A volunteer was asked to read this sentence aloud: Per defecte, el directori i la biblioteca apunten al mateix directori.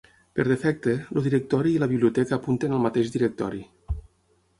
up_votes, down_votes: 0, 6